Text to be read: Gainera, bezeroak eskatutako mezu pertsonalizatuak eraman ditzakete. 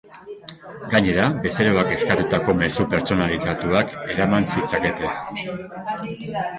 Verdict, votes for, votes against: rejected, 0, 2